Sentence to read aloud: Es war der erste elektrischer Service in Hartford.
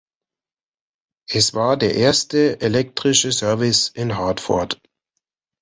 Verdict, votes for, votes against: rejected, 1, 2